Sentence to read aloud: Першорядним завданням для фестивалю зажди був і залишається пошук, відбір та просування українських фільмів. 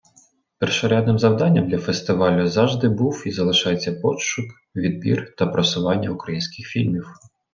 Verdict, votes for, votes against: rejected, 0, 2